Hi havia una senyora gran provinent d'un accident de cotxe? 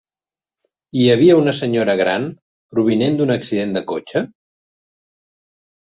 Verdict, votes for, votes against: accepted, 4, 1